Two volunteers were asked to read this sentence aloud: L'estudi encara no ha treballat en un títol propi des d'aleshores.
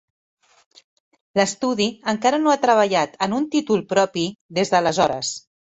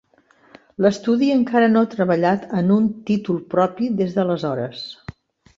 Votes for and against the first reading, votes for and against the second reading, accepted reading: 4, 2, 1, 2, first